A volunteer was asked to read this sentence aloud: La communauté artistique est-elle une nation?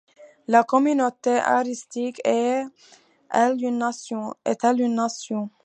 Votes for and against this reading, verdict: 0, 2, rejected